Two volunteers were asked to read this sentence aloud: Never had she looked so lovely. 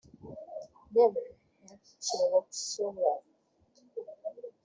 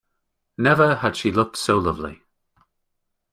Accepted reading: second